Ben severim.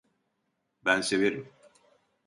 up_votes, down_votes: 2, 0